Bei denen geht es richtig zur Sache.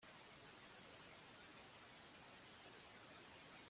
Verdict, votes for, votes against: rejected, 0, 2